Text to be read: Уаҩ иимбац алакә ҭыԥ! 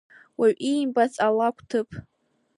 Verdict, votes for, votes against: accepted, 2, 0